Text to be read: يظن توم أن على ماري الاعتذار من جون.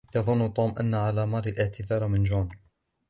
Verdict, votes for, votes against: accepted, 2, 1